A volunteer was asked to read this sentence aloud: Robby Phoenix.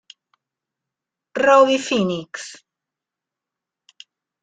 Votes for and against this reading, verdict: 0, 2, rejected